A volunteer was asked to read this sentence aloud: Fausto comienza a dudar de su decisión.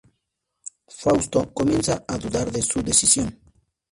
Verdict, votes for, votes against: accepted, 2, 0